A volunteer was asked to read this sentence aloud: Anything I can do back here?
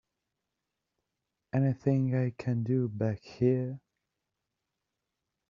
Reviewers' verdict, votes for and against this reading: accepted, 3, 0